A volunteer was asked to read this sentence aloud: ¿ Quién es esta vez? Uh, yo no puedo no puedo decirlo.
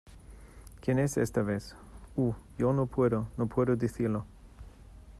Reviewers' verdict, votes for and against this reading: accepted, 2, 0